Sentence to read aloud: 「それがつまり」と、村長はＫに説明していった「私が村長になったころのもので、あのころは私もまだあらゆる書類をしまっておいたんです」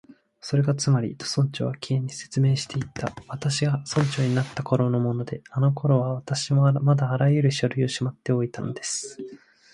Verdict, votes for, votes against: accepted, 2, 0